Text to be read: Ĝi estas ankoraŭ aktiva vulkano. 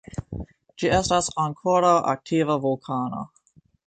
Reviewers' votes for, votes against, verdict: 2, 0, accepted